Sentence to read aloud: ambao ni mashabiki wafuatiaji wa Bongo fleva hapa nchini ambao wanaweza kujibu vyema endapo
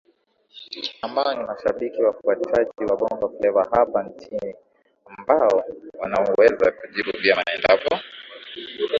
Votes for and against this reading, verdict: 2, 1, accepted